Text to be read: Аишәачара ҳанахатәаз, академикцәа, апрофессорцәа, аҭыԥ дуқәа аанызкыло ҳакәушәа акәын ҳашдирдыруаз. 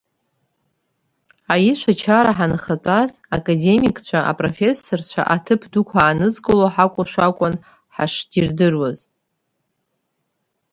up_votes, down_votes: 3, 0